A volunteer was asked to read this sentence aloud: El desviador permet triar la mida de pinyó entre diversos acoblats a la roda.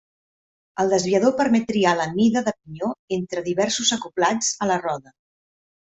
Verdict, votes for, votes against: accepted, 3, 0